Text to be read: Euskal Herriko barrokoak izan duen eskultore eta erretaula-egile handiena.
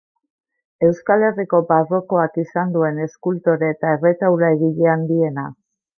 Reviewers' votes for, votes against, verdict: 1, 2, rejected